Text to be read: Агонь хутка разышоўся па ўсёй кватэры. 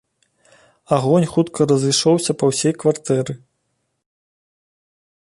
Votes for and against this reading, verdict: 1, 2, rejected